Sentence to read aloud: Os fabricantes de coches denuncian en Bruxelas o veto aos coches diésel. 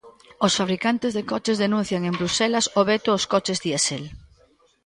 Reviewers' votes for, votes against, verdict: 3, 0, accepted